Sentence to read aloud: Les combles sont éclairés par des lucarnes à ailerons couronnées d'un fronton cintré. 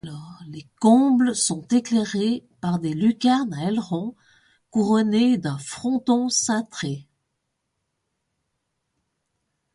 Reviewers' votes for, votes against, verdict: 2, 0, accepted